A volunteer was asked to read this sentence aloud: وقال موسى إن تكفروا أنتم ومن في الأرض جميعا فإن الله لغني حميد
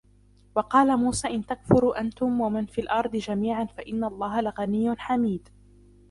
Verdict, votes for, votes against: accepted, 2, 0